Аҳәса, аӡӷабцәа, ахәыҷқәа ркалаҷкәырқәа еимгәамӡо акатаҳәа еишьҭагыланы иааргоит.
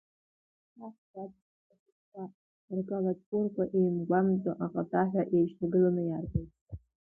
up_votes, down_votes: 0, 2